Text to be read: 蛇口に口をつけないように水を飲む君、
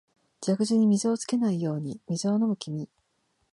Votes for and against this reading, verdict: 0, 2, rejected